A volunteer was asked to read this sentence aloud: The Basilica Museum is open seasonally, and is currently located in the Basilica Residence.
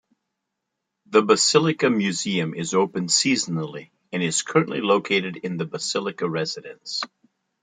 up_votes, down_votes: 2, 1